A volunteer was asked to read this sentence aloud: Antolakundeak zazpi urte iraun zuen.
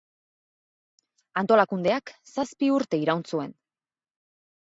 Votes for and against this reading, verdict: 8, 0, accepted